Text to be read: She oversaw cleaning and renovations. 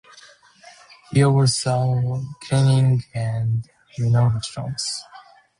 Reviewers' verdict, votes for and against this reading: rejected, 0, 2